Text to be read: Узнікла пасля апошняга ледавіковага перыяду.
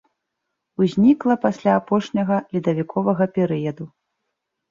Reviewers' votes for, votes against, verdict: 2, 0, accepted